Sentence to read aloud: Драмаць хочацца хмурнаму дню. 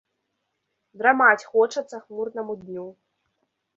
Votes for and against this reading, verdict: 2, 0, accepted